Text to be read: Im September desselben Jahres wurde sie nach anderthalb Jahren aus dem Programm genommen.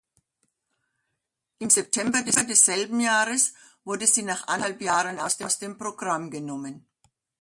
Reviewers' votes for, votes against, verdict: 0, 2, rejected